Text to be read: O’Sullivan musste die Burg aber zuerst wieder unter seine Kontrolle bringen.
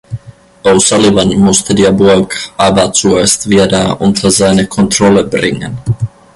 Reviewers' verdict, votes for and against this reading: rejected, 0, 3